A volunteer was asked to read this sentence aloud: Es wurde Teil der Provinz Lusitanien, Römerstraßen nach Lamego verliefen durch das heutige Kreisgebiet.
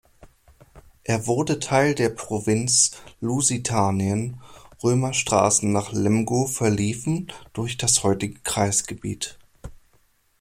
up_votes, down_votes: 0, 2